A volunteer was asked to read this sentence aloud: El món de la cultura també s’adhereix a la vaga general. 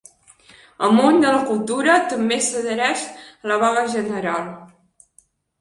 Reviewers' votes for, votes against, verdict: 2, 0, accepted